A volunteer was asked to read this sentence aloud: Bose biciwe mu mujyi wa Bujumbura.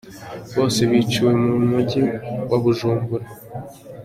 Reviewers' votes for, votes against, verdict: 2, 0, accepted